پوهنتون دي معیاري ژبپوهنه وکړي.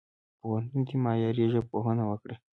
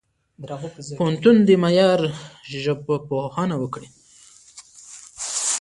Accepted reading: first